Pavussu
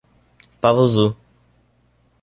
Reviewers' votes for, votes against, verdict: 0, 2, rejected